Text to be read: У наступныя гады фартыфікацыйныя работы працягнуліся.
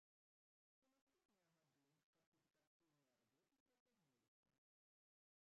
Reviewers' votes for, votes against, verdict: 0, 2, rejected